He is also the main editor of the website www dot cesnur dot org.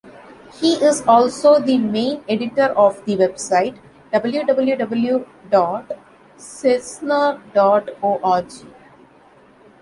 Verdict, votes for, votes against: accepted, 2, 0